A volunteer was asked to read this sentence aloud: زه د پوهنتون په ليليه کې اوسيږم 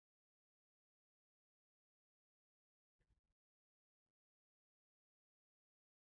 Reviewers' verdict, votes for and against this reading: rejected, 0, 2